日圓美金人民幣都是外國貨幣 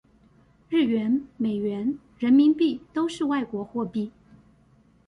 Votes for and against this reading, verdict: 1, 2, rejected